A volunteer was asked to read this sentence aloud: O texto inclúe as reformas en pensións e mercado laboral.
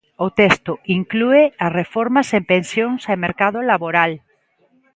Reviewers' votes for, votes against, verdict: 2, 0, accepted